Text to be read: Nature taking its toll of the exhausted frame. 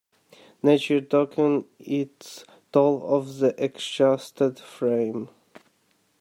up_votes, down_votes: 0, 2